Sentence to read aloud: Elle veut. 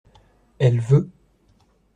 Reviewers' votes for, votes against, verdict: 2, 0, accepted